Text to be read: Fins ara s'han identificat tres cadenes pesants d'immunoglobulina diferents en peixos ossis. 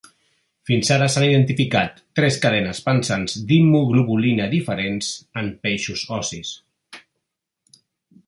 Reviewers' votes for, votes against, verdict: 1, 2, rejected